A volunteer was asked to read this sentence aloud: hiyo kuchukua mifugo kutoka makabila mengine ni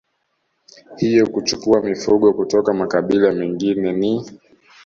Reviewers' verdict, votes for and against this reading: accepted, 2, 0